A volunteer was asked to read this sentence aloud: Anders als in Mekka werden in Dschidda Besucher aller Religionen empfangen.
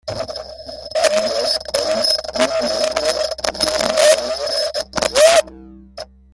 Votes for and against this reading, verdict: 0, 2, rejected